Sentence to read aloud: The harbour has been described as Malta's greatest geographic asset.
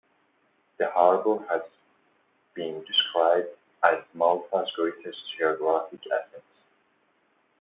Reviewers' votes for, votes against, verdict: 2, 0, accepted